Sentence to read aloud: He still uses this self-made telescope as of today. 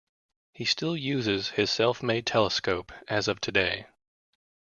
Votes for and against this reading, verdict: 0, 2, rejected